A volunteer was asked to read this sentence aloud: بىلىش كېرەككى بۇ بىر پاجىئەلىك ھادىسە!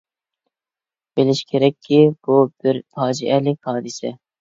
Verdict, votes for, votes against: accepted, 2, 0